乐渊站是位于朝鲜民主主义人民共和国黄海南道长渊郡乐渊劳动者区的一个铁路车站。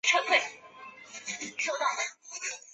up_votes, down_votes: 2, 3